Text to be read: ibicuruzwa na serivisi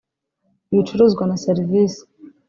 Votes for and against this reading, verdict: 1, 2, rejected